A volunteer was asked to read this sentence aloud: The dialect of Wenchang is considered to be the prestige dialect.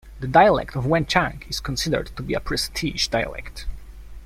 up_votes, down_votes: 0, 2